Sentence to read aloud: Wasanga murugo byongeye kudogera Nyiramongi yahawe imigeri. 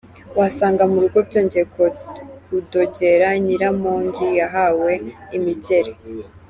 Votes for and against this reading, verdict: 3, 0, accepted